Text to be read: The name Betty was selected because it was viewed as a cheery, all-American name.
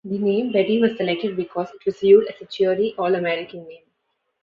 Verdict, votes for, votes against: accepted, 2, 1